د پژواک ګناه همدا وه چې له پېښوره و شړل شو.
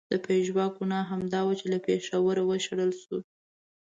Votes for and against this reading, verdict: 2, 0, accepted